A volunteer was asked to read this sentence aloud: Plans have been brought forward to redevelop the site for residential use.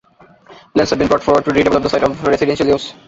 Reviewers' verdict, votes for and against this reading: rejected, 1, 2